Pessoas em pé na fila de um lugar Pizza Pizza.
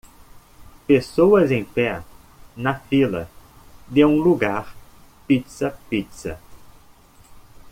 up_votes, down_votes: 2, 0